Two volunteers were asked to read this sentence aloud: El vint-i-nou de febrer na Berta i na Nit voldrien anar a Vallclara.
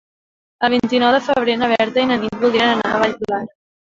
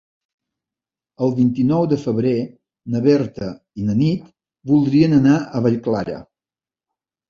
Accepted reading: second